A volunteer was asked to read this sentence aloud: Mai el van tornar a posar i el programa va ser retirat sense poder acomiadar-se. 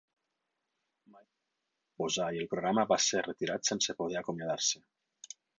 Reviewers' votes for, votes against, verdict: 0, 4, rejected